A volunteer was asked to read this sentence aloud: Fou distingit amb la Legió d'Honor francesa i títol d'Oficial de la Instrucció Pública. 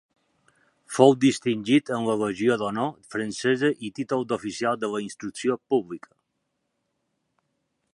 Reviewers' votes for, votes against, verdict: 2, 1, accepted